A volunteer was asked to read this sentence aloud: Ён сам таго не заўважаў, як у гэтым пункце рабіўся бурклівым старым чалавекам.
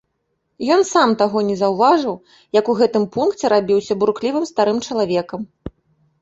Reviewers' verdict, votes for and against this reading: rejected, 1, 2